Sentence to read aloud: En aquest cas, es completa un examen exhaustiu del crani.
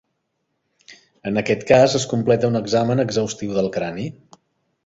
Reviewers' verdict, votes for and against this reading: accepted, 3, 0